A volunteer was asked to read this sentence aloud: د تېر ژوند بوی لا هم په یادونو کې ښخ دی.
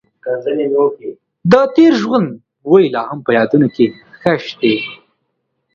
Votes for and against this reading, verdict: 2, 0, accepted